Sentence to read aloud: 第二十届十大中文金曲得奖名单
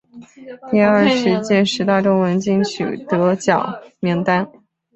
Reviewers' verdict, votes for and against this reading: rejected, 1, 2